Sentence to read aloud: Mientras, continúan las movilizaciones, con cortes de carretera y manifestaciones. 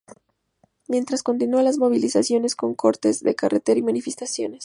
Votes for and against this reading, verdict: 4, 0, accepted